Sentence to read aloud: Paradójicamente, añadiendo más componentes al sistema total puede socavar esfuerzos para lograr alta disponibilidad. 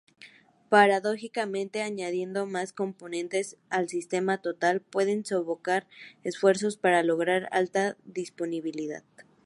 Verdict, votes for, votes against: rejected, 2, 4